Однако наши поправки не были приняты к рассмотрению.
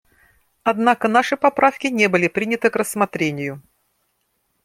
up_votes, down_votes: 2, 0